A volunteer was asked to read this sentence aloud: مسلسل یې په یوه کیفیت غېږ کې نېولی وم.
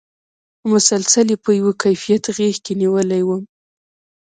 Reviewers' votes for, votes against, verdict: 1, 2, rejected